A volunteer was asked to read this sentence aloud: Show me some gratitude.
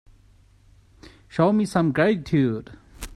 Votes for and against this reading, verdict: 1, 2, rejected